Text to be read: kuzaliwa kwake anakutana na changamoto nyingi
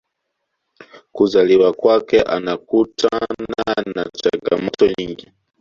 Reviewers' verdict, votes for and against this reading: rejected, 1, 2